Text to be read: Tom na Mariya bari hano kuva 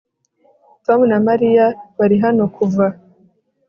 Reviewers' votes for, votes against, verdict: 2, 0, accepted